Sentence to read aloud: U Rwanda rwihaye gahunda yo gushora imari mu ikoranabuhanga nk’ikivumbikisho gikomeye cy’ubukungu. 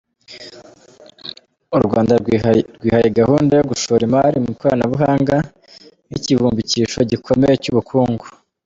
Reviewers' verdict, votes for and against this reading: accepted, 2, 0